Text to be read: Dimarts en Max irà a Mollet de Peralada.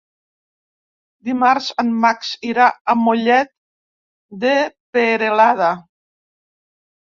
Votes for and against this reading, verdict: 0, 2, rejected